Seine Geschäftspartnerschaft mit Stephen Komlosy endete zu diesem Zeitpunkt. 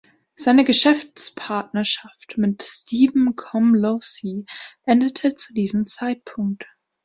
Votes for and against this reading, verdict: 1, 2, rejected